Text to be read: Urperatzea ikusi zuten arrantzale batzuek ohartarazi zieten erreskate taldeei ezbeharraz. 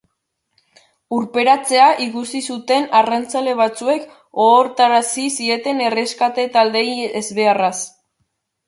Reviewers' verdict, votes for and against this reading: rejected, 0, 2